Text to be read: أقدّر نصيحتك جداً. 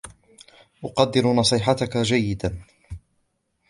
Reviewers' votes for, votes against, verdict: 1, 2, rejected